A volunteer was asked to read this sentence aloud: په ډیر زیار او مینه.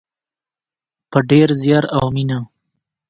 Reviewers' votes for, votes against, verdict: 2, 0, accepted